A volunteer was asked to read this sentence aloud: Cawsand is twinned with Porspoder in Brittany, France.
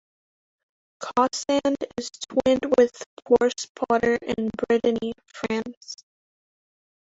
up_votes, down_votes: 0, 2